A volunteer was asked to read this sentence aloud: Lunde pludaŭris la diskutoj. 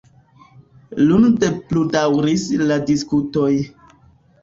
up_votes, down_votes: 2, 1